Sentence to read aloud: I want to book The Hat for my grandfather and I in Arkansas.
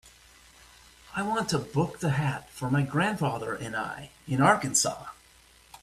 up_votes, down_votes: 2, 1